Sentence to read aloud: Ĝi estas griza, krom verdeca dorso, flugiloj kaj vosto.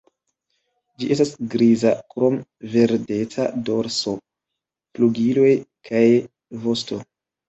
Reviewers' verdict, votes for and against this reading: accepted, 2, 0